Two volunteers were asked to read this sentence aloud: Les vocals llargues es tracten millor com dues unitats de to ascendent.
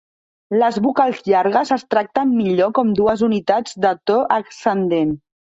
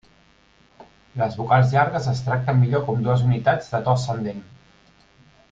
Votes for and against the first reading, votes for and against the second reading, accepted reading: 1, 2, 2, 0, second